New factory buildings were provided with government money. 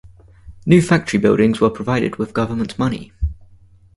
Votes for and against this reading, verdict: 4, 0, accepted